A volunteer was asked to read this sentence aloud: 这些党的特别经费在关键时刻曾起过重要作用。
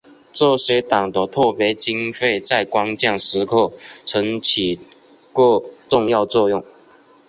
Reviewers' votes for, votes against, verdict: 3, 0, accepted